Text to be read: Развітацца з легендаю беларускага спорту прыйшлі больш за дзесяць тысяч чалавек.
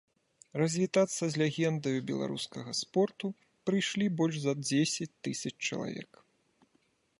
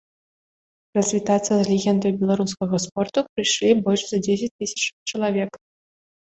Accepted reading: second